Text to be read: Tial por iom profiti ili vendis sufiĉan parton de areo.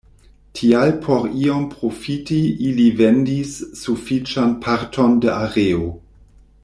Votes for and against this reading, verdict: 2, 0, accepted